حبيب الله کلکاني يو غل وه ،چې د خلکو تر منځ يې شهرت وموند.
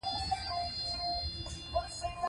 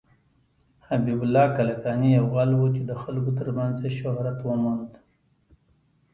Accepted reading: second